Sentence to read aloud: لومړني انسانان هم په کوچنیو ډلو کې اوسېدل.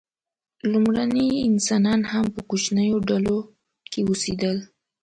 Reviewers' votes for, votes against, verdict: 2, 0, accepted